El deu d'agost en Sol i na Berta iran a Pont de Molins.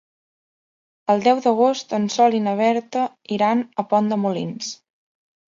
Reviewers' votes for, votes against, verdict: 2, 0, accepted